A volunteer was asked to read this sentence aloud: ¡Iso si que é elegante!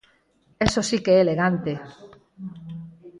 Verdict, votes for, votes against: rejected, 0, 4